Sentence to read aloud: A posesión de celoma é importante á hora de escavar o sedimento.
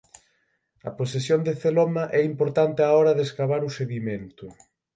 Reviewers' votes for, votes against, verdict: 9, 0, accepted